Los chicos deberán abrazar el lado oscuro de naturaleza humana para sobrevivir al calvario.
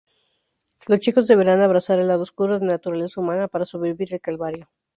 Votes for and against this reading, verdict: 0, 2, rejected